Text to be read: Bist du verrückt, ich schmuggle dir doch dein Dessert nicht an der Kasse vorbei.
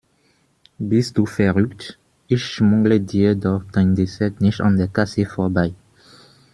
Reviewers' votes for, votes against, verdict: 2, 0, accepted